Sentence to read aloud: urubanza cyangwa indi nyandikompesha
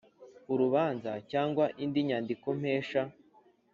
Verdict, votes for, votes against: accepted, 2, 0